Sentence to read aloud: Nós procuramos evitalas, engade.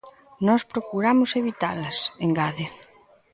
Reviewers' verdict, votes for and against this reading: accepted, 2, 0